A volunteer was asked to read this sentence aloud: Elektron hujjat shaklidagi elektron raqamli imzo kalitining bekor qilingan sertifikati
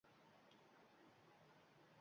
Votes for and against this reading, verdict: 0, 2, rejected